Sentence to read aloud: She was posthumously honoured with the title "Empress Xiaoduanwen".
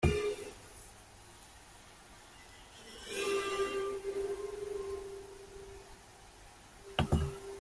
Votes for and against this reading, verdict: 0, 2, rejected